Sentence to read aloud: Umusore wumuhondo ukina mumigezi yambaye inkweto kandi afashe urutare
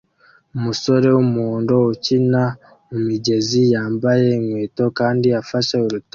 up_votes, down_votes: 2, 1